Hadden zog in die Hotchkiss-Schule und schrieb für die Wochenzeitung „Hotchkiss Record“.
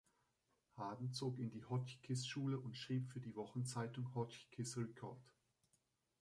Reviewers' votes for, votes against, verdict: 1, 2, rejected